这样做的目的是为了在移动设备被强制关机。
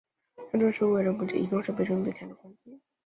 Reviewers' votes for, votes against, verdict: 0, 2, rejected